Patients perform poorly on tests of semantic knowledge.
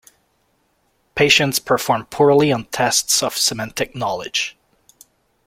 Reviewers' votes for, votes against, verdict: 2, 0, accepted